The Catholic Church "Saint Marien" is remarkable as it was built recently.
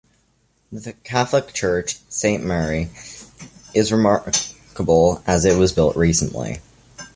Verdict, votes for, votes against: accepted, 2, 0